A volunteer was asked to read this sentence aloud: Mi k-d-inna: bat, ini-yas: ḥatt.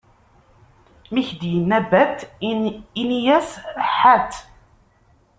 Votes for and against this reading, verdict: 0, 2, rejected